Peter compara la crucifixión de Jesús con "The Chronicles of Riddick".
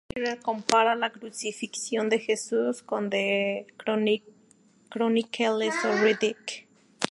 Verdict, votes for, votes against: rejected, 0, 2